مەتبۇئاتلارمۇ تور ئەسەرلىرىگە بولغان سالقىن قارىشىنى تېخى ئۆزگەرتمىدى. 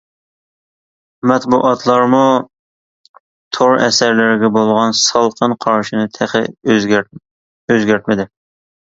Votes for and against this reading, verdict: 1, 2, rejected